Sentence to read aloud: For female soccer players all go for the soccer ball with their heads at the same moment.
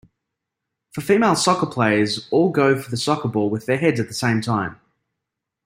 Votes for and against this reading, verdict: 1, 2, rejected